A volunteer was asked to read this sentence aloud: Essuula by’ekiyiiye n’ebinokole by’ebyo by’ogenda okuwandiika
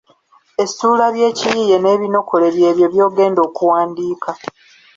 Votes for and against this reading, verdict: 1, 2, rejected